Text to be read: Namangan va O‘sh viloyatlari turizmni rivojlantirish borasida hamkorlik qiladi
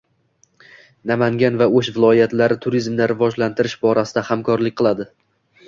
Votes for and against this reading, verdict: 1, 2, rejected